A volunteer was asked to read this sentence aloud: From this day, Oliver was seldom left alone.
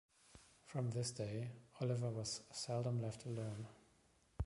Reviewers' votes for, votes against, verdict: 2, 1, accepted